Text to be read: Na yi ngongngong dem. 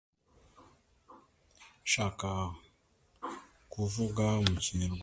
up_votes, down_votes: 0, 2